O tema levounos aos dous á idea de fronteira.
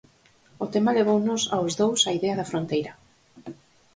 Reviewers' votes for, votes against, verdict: 2, 2, rejected